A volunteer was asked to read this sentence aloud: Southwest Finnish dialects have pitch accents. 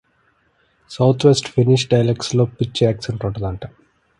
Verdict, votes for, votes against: rejected, 0, 2